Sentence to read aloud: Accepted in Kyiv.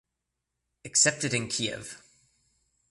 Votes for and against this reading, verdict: 2, 1, accepted